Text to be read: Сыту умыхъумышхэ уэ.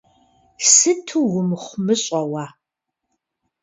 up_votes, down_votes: 0, 2